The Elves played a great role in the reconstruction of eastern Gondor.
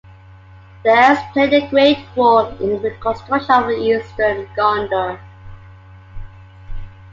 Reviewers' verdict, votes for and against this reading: accepted, 2, 0